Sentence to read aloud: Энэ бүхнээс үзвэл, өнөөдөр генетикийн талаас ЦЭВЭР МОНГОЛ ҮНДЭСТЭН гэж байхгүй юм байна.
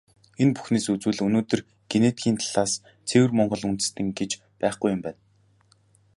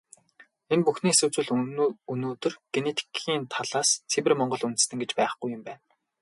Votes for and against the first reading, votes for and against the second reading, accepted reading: 3, 0, 0, 2, first